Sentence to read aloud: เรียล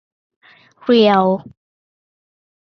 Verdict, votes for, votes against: accepted, 2, 0